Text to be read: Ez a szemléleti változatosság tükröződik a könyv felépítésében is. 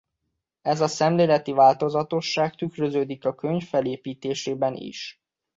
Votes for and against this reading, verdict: 2, 0, accepted